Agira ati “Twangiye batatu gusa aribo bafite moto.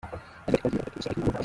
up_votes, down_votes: 0, 3